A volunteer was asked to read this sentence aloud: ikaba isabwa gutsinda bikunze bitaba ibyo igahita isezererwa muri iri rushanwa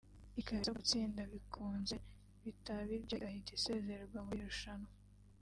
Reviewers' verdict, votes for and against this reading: accepted, 4, 3